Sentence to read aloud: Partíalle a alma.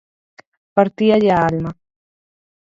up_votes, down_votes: 4, 0